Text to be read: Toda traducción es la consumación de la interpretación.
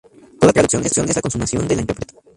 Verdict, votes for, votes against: rejected, 0, 2